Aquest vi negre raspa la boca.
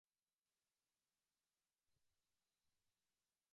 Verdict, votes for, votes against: rejected, 0, 2